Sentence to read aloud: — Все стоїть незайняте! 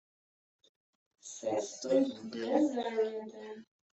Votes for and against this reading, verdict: 1, 2, rejected